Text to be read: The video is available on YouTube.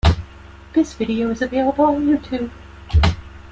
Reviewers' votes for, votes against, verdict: 0, 2, rejected